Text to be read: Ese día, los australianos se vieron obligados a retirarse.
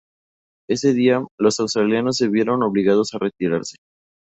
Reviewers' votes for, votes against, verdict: 2, 0, accepted